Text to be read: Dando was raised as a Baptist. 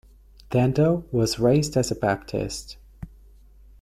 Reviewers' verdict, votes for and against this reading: accepted, 2, 0